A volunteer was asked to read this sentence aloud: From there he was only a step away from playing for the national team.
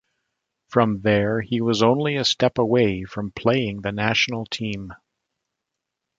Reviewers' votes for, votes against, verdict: 0, 2, rejected